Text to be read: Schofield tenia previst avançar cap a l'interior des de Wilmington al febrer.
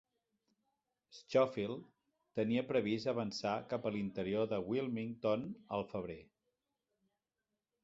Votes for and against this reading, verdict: 0, 2, rejected